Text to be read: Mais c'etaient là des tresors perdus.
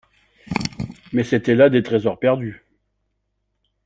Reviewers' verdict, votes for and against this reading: rejected, 0, 2